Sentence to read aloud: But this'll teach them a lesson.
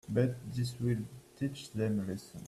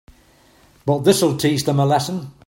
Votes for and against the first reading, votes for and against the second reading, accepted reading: 1, 2, 3, 0, second